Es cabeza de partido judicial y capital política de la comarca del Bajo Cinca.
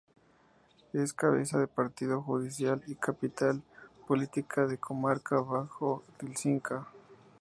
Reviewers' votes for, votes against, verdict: 0, 2, rejected